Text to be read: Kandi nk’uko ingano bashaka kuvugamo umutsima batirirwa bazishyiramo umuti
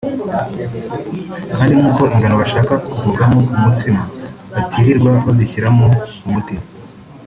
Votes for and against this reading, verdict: 0, 2, rejected